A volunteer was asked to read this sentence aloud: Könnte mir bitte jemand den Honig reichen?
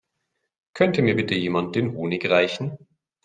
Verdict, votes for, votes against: accepted, 2, 0